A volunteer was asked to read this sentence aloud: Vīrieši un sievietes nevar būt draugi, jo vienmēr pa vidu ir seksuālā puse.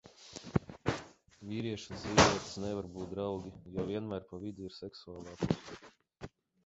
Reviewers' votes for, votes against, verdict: 0, 2, rejected